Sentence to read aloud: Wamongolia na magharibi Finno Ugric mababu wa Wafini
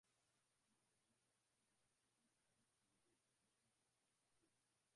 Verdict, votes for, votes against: rejected, 0, 2